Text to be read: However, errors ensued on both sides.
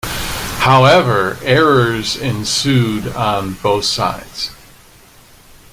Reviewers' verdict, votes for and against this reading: accepted, 2, 0